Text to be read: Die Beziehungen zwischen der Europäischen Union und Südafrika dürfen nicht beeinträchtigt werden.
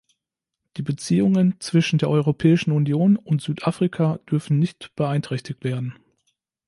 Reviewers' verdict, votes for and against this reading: accepted, 2, 0